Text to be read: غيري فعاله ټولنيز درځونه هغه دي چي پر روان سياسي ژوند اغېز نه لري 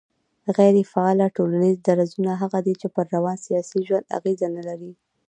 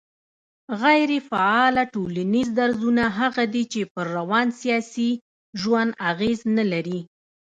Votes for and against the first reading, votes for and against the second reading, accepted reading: 2, 1, 1, 2, first